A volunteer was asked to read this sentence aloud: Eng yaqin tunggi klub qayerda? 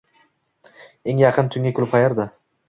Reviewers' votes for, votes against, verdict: 2, 0, accepted